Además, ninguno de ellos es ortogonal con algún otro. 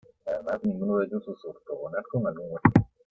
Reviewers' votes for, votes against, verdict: 1, 2, rejected